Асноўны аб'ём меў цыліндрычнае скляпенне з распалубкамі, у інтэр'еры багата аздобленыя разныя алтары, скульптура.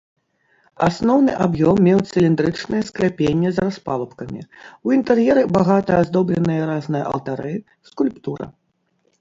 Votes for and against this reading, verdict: 0, 2, rejected